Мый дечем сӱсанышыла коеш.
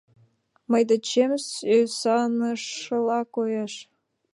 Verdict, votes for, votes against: accepted, 2, 1